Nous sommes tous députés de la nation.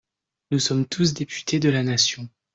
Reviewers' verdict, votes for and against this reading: accepted, 2, 0